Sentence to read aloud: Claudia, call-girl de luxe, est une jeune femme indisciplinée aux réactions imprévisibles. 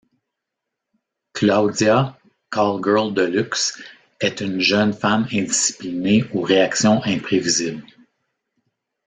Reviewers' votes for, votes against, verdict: 2, 0, accepted